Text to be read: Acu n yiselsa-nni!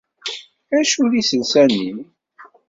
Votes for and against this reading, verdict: 2, 1, accepted